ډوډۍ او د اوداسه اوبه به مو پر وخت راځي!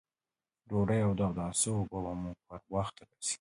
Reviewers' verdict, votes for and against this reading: accepted, 2, 0